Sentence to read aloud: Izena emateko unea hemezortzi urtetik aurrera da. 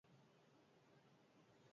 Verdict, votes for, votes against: rejected, 2, 4